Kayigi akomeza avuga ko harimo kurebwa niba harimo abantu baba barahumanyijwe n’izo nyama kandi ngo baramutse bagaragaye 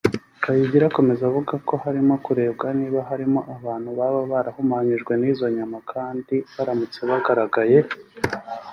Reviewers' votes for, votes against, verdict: 2, 3, rejected